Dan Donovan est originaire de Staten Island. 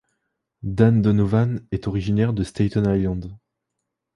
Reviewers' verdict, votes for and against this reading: accepted, 2, 0